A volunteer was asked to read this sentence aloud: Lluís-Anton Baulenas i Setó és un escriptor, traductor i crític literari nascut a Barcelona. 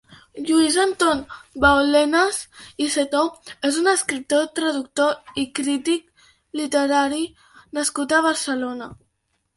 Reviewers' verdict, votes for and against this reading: accepted, 2, 0